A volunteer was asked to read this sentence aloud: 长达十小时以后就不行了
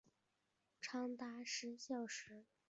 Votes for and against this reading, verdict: 0, 3, rejected